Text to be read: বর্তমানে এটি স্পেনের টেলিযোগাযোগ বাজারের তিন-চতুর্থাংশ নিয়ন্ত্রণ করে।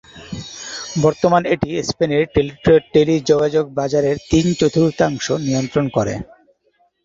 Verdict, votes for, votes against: rejected, 2, 2